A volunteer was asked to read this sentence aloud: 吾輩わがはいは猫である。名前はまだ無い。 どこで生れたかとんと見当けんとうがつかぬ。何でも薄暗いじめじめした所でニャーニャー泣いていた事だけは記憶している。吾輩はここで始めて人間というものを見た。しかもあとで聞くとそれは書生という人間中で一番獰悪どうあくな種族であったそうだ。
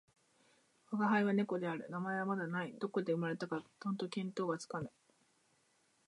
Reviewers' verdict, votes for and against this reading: rejected, 0, 2